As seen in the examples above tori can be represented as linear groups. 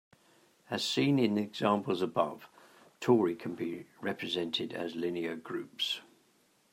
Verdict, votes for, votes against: accepted, 2, 0